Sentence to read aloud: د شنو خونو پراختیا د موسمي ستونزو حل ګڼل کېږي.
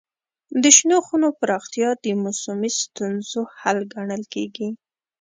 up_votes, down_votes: 2, 0